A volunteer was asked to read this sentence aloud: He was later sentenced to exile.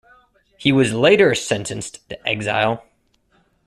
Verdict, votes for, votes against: rejected, 0, 2